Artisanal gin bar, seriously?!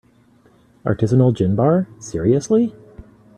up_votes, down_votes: 2, 0